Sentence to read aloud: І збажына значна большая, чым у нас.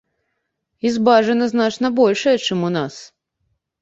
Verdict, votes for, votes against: rejected, 0, 2